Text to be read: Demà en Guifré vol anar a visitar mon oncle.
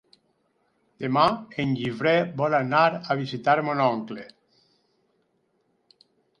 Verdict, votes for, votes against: accepted, 4, 0